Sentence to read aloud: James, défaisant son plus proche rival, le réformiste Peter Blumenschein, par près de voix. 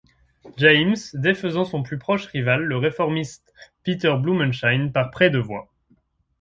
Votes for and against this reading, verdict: 2, 0, accepted